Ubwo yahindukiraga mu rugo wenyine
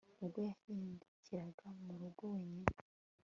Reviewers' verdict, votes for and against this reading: accepted, 2, 0